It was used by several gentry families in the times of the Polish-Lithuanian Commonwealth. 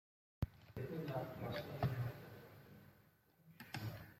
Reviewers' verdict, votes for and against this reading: rejected, 0, 2